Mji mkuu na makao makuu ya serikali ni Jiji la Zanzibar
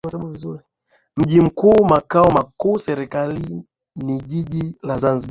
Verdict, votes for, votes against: accepted, 8, 2